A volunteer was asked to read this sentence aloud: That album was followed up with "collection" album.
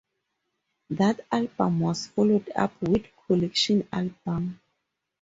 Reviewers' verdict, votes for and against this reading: accepted, 4, 2